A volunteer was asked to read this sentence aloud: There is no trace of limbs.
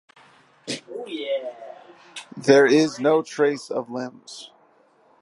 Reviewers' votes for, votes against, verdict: 2, 1, accepted